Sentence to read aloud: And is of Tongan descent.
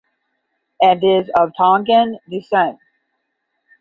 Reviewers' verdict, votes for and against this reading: accepted, 10, 0